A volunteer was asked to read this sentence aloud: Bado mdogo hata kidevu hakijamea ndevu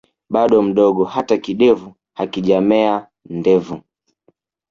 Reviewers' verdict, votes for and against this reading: accepted, 3, 1